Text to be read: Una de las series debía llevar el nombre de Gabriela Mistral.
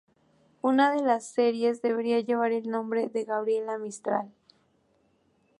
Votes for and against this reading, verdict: 2, 0, accepted